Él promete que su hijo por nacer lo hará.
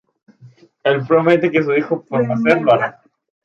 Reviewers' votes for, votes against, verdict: 0, 2, rejected